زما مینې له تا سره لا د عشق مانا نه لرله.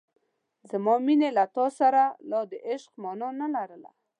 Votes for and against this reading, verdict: 3, 0, accepted